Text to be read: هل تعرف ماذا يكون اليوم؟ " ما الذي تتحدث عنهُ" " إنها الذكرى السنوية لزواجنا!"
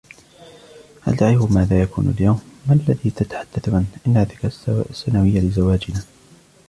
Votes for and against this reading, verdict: 2, 1, accepted